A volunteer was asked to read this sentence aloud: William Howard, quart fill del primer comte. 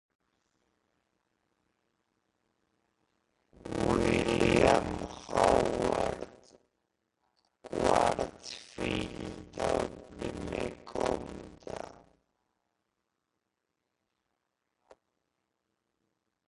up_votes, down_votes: 1, 2